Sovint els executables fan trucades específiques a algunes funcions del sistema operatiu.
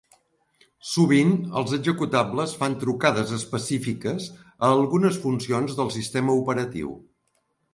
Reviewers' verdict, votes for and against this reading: accepted, 2, 0